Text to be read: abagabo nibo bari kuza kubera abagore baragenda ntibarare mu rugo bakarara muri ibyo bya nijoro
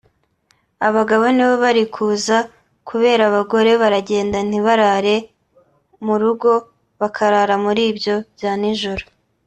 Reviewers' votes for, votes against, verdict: 3, 0, accepted